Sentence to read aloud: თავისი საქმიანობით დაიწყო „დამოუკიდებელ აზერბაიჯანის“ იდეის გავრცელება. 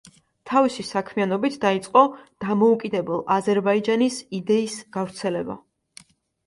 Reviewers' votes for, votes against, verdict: 2, 0, accepted